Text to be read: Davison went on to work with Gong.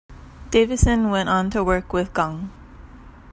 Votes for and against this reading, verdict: 2, 0, accepted